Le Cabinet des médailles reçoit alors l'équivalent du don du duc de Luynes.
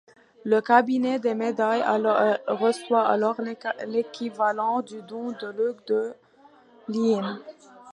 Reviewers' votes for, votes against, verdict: 0, 2, rejected